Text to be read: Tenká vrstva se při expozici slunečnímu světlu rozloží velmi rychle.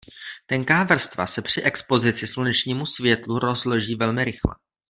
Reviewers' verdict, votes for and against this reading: accepted, 2, 0